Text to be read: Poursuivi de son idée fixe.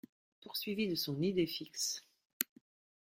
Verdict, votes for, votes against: accepted, 2, 1